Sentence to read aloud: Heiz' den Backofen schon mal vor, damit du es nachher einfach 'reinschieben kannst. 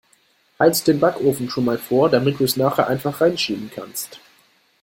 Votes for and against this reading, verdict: 2, 0, accepted